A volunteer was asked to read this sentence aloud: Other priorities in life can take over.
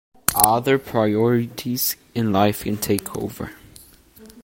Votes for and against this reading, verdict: 2, 1, accepted